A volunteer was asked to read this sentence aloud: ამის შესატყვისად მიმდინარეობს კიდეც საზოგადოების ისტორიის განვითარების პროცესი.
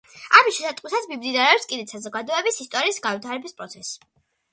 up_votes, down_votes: 2, 0